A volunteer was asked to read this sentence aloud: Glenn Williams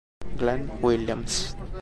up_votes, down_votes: 2, 0